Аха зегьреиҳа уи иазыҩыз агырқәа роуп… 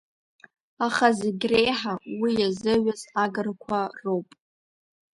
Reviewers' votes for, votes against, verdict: 2, 1, accepted